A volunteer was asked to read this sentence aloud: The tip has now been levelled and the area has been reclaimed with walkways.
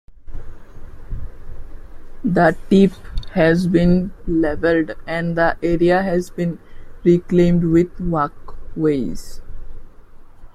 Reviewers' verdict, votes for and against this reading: rejected, 1, 2